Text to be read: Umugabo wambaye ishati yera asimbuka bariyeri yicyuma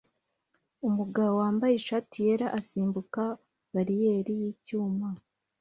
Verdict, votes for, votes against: accepted, 2, 0